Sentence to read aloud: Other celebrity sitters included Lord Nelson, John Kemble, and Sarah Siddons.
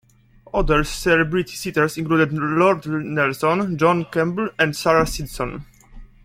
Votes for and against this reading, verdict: 1, 2, rejected